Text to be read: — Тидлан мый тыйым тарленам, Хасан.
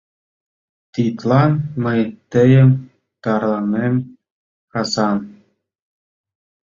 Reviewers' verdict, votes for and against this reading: rejected, 0, 2